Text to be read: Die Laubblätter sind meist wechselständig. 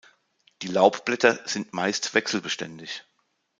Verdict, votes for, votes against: rejected, 0, 2